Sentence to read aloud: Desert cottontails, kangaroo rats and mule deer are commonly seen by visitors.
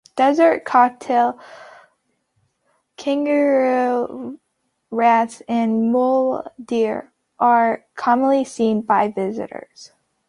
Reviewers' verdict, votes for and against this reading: rejected, 0, 2